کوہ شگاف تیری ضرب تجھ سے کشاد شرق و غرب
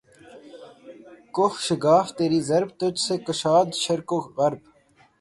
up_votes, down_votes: 3, 3